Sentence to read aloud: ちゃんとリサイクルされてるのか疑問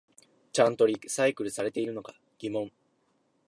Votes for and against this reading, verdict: 1, 2, rejected